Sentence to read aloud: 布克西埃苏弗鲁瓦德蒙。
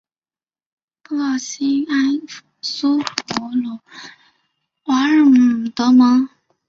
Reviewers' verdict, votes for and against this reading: rejected, 0, 3